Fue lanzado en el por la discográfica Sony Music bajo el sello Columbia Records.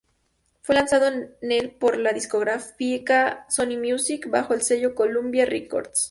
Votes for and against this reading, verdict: 0, 4, rejected